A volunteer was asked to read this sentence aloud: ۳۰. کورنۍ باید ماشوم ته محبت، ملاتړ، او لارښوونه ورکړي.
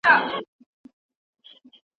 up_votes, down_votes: 0, 2